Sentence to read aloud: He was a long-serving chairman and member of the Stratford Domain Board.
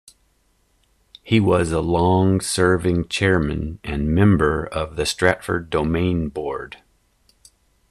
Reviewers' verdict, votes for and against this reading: accepted, 2, 0